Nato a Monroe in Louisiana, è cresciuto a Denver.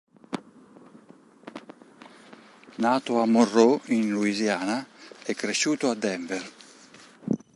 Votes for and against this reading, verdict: 0, 2, rejected